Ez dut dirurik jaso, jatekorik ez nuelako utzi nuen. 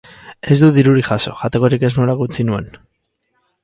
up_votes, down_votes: 4, 0